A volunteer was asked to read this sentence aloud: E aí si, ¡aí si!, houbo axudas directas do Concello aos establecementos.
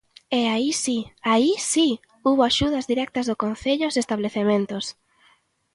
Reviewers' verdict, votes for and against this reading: accepted, 2, 0